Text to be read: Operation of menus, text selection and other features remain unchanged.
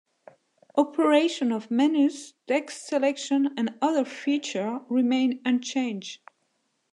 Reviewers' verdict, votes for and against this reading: rejected, 0, 2